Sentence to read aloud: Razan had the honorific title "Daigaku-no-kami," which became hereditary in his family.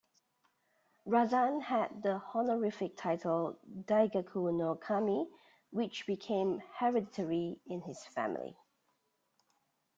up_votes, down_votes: 0, 2